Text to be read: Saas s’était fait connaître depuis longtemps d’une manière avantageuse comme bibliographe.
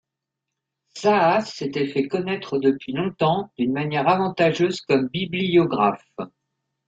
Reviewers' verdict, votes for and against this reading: accepted, 2, 0